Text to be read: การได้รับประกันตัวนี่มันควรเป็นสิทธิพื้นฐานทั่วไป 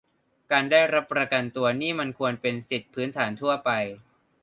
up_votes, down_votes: 2, 1